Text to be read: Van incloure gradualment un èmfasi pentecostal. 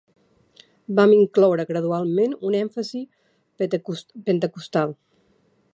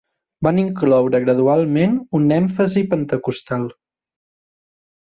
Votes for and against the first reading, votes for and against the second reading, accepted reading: 0, 2, 2, 0, second